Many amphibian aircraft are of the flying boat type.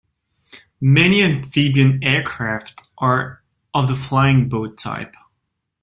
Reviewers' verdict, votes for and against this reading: accepted, 2, 0